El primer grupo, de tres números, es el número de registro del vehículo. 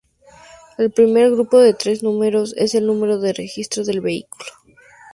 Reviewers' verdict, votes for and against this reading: rejected, 0, 2